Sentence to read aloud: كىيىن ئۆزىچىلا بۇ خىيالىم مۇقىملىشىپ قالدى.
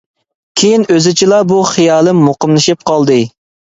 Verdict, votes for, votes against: accepted, 2, 0